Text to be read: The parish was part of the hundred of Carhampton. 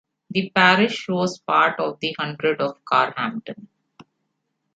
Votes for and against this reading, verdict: 2, 1, accepted